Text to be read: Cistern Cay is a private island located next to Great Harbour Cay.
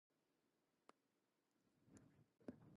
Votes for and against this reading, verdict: 0, 2, rejected